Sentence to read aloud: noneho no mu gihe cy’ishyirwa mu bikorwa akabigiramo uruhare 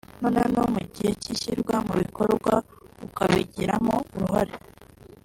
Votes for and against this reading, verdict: 2, 3, rejected